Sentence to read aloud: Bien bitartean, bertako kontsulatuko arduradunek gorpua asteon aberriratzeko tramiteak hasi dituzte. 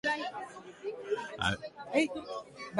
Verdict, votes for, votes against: rejected, 0, 2